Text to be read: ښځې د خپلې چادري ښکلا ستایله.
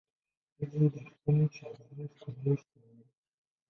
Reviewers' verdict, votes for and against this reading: rejected, 0, 3